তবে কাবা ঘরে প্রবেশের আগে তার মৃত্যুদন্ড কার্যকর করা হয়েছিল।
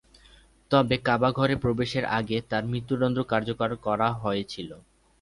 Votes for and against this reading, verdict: 11, 1, accepted